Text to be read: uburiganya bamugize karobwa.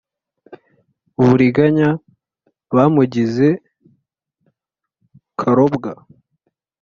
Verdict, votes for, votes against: accepted, 2, 0